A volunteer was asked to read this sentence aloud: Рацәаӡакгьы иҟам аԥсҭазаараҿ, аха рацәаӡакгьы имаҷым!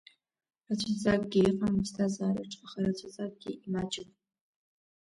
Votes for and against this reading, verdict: 0, 2, rejected